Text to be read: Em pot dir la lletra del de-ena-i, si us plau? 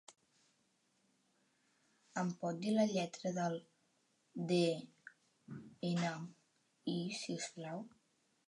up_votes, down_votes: 2, 0